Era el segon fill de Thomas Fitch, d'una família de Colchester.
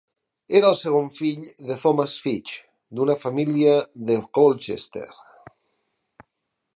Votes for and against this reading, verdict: 6, 0, accepted